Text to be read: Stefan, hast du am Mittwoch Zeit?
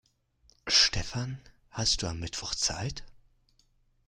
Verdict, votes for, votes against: rejected, 0, 2